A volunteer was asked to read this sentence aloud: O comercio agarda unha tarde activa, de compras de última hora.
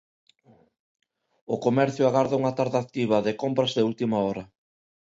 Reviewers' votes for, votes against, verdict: 2, 0, accepted